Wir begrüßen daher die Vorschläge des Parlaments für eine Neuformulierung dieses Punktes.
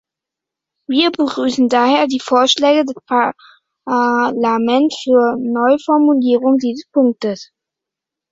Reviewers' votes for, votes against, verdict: 0, 2, rejected